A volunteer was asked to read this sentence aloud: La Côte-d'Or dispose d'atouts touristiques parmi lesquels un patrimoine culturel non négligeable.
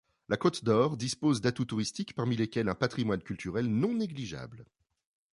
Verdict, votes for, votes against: accepted, 2, 1